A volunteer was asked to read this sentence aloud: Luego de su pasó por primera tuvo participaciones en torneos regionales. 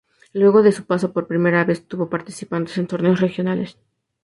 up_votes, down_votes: 0, 2